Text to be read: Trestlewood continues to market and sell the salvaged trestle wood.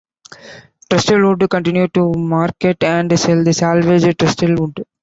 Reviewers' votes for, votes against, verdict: 0, 2, rejected